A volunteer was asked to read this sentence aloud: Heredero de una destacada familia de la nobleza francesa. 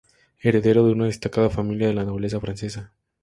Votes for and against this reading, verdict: 4, 0, accepted